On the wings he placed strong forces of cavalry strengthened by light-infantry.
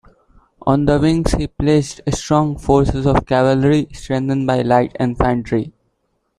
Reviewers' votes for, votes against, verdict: 0, 2, rejected